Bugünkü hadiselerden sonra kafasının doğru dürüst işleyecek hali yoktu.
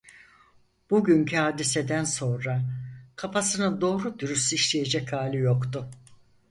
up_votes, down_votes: 0, 4